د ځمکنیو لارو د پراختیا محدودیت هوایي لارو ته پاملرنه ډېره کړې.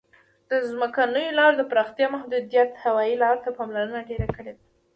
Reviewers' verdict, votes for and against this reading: accepted, 2, 0